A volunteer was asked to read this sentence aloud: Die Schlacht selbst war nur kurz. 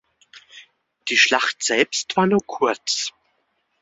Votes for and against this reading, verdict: 2, 0, accepted